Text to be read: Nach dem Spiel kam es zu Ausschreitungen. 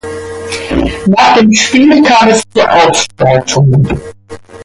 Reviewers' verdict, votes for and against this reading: accepted, 2, 1